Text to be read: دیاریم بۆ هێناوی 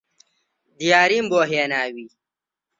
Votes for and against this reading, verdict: 2, 0, accepted